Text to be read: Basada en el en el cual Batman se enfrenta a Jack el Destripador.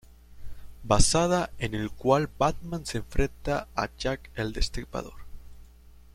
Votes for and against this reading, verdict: 0, 2, rejected